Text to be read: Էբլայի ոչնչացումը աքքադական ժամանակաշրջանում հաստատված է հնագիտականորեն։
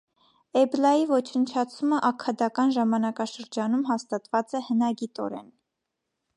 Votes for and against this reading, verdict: 1, 2, rejected